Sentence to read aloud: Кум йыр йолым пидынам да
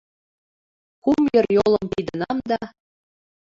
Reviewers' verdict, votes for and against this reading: rejected, 1, 2